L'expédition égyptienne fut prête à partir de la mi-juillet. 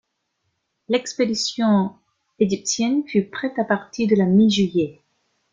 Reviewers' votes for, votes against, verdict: 1, 2, rejected